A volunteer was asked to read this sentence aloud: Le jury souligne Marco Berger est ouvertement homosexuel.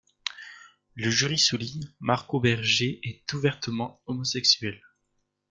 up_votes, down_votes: 0, 2